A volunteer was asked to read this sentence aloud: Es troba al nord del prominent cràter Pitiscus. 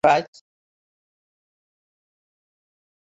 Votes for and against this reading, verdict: 0, 3, rejected